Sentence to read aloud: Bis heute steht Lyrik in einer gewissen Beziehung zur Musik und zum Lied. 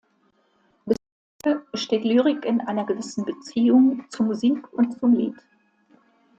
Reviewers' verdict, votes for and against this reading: rejected, 0, 2